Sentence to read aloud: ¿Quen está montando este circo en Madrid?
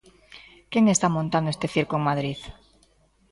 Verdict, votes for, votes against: accepted, 2, 0